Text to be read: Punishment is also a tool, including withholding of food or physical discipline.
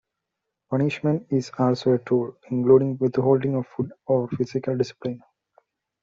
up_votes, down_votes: 1, 2